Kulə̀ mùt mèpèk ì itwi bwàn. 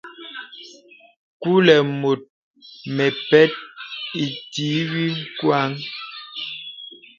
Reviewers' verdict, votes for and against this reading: rejected, 0, 2